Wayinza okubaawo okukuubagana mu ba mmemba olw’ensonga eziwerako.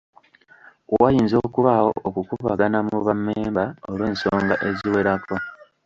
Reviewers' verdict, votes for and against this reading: rejected, 0, 2